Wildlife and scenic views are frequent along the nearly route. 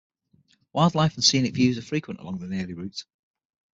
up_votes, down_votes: 0, 6